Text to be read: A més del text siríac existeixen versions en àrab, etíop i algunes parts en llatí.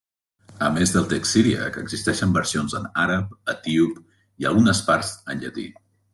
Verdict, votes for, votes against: accepted, 4, 1